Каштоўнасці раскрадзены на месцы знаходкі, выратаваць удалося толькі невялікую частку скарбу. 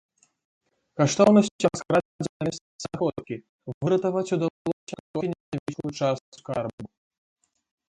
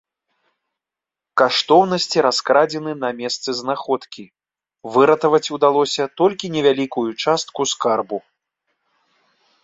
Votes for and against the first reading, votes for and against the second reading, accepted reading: 0, 2, 2, 0, second